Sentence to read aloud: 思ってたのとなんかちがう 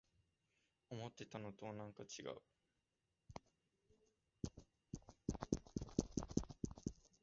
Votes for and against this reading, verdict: 0, 2, rejected